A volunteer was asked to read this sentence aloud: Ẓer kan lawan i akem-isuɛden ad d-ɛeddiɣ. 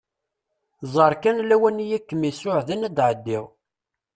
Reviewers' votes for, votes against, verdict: 2, 0, accepted